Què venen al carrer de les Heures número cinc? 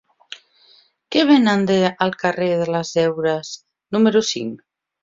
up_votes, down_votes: 0, 2